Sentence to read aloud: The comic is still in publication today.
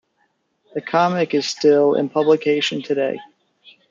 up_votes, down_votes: 3, 1